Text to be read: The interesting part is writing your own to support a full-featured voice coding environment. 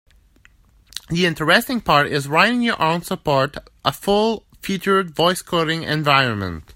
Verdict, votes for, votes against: rejected, 0, 2